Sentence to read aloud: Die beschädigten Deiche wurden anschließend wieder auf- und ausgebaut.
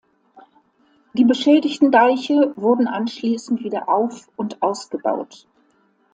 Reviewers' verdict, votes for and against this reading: accepted, 2, 0